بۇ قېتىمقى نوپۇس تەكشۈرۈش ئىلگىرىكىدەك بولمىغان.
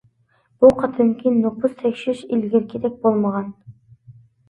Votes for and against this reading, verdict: 2, 0, accepted